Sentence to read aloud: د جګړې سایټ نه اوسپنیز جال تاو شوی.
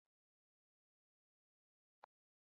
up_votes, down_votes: 0, 6